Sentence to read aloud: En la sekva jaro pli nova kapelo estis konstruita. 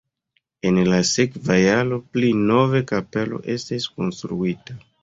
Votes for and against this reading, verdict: 2, 1, accepted